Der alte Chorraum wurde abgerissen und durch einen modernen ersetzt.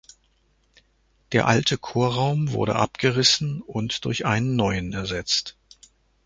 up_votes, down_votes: 0, 2